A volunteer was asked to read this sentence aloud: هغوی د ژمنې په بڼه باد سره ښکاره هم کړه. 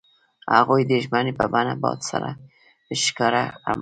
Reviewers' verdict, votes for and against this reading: rejected, 1, 2